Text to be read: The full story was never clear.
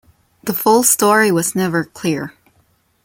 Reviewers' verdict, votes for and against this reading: accepted, 2, 0